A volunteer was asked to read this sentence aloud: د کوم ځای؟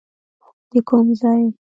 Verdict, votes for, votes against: accepted, 2, 1